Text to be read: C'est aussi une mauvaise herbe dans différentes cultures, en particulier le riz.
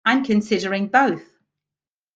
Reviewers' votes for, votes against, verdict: 0, 2, rejected